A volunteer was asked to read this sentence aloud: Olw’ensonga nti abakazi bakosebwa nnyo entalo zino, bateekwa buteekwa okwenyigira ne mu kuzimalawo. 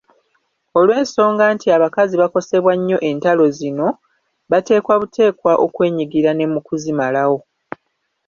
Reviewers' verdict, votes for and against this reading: rejected, 1, 2